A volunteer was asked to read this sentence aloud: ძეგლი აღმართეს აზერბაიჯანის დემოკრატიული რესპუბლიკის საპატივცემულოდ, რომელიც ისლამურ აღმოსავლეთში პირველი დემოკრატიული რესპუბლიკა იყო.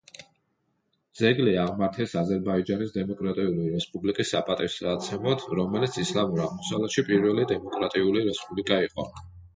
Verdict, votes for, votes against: rejected, 0, 2